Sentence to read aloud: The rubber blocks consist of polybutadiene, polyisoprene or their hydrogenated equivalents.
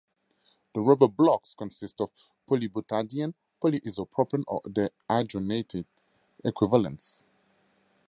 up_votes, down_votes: 2, 2